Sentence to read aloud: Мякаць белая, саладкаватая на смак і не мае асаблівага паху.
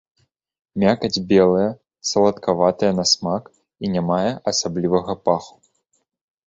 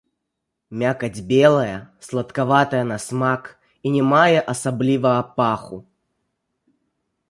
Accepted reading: first